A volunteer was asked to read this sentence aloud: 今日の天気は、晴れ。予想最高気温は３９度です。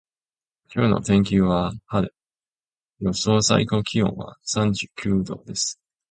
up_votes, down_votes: 0, 2